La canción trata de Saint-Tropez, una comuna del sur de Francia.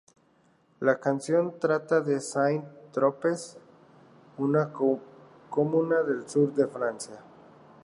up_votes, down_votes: 2, 0